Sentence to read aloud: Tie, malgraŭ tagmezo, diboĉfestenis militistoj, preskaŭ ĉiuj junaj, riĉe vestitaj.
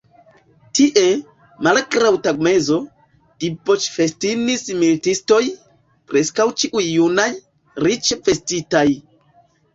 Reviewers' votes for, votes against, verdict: 2, 3, rejected